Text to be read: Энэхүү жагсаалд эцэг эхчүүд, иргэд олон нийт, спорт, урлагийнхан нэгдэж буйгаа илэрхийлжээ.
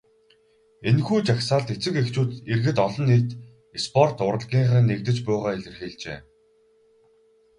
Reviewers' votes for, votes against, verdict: 2, 2, rejected